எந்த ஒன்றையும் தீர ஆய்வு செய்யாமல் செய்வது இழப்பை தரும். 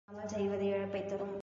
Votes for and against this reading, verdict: 0, 2, rejected